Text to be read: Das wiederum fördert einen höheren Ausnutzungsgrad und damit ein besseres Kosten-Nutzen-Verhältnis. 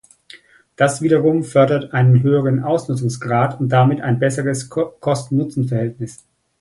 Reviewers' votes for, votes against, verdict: 0, 2, rejected